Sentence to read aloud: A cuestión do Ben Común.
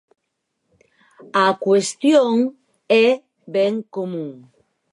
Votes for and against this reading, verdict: 0, 4, rejected